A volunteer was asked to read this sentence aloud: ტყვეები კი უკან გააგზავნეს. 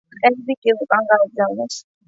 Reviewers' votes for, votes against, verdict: 2, 0, accepted